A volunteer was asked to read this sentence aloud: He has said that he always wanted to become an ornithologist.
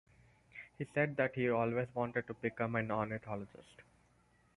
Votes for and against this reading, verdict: 4, 2, accepted